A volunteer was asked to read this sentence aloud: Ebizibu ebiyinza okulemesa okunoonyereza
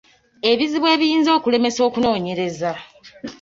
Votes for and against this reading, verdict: 2, 0, accepted